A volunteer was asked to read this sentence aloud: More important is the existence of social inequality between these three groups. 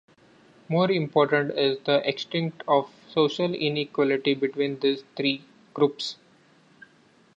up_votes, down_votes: 0, 2